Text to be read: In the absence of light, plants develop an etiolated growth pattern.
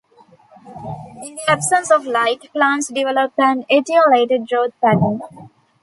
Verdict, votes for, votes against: rejected, 0, 2